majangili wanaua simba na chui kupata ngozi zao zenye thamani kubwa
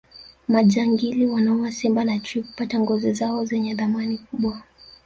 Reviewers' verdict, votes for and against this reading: rejected, 1, 2